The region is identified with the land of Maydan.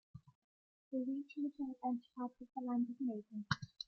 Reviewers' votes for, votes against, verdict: 2, 0, accepted